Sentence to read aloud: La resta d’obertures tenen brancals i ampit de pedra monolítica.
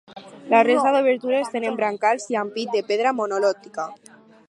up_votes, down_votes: 2, 4